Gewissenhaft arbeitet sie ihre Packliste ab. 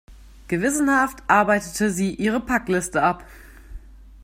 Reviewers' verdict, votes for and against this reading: rejected, 1, 2